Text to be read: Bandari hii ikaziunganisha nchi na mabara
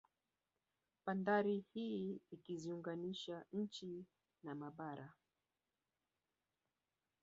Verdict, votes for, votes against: rejected, 0, 2